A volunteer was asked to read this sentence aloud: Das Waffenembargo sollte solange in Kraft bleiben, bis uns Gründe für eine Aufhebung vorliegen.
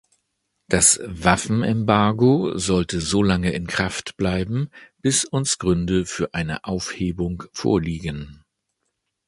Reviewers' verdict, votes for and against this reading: accepted, 2, 0